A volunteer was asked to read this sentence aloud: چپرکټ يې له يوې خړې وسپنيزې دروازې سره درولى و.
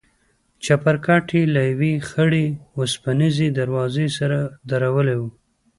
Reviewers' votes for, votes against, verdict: 2, 0, accepted